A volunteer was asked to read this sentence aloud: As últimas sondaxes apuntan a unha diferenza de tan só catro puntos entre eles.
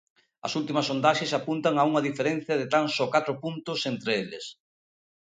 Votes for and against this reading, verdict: 1, 2, rejected